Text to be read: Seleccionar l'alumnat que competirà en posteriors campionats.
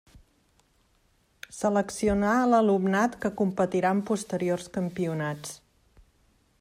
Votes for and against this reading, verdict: 3, 0, accepted